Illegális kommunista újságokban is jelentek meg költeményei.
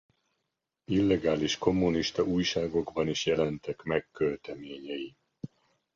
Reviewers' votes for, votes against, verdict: 2, 0, accepted